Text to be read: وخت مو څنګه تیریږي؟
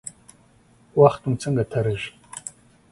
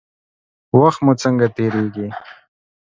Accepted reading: second